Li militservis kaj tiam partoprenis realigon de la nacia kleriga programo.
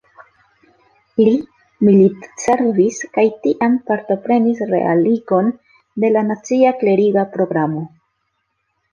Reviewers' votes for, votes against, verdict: 2, 0, accepted